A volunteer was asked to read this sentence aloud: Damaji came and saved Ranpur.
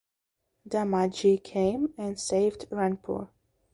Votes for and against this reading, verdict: 2, 0, accepted